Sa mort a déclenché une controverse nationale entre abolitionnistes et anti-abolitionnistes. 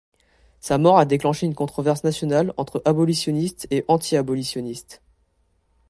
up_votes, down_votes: 2, 0